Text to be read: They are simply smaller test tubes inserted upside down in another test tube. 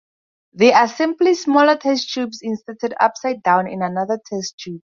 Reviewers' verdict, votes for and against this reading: accepted, 4, 0